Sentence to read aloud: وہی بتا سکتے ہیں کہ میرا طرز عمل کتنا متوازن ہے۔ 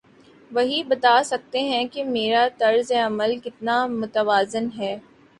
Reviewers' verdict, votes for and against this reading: accepted, 2, 0